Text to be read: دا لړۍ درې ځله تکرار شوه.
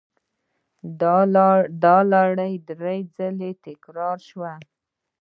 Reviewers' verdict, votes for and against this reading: accepted, 2, 0